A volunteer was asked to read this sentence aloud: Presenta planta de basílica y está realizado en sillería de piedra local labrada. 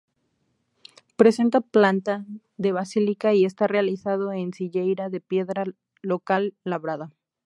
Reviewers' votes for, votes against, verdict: 0, 2, rejected